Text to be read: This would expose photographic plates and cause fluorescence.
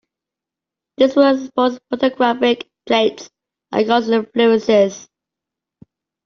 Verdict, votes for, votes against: rejected, 0, 2